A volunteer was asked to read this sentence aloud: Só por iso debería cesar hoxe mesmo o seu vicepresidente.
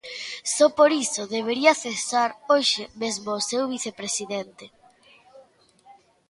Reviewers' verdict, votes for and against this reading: accepted, 2, 0